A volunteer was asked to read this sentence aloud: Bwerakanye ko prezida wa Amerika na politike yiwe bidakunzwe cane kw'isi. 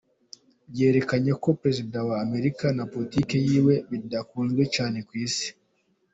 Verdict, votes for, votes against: accepted, 2, 0